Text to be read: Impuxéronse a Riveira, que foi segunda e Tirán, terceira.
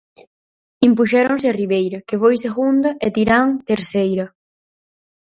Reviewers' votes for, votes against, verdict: 4, 0, accepted